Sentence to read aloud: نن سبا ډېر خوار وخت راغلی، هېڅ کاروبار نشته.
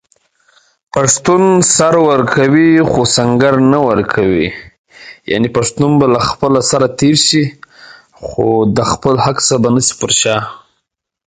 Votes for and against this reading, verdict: 0, 2, rejected